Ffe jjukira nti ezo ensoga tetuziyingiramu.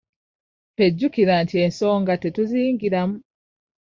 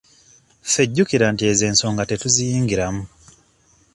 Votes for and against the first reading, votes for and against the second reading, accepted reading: 1, 2, 2, 0, second